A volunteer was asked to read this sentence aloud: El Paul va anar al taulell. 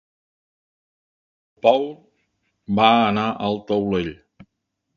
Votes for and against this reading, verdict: 0, 2, rejected